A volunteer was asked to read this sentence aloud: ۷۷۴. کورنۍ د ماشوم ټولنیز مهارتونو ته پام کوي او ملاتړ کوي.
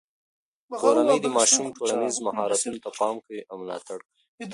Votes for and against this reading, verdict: 0, 2, rejected